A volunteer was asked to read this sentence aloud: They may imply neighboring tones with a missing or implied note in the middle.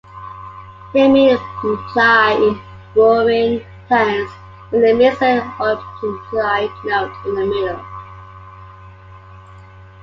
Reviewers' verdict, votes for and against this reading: rejected, 0, 2